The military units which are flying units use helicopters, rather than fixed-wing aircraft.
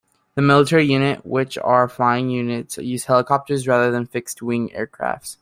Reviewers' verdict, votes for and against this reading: rejected, 1, 2